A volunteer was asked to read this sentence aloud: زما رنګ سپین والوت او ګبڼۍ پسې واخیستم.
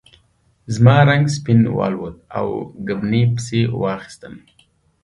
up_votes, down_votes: 2, 0